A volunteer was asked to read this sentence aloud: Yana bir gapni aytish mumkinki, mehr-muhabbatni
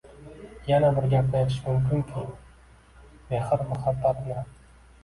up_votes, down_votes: 2, 0